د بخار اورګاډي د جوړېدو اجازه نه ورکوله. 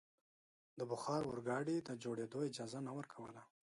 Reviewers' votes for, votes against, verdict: 2, 0, accepted